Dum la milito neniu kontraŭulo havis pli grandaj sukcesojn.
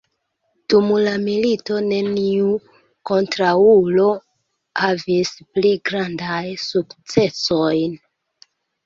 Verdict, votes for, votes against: accepted, 2, 1